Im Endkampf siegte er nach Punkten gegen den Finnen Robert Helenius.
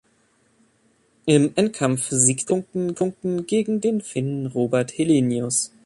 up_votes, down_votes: 0, 2